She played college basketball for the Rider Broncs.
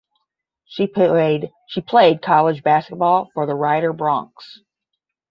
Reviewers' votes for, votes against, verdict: 5, 10, rejected